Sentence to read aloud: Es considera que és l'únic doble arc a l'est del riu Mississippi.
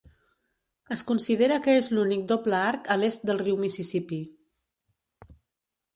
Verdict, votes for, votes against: accepted, 3, 0